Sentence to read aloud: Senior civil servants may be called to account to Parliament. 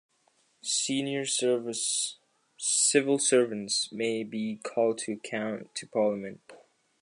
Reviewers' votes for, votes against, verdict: 2, 1, accepted